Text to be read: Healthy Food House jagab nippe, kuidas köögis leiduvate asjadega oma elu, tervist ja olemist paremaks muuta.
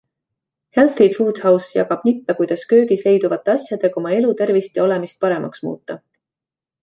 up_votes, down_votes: 2, 1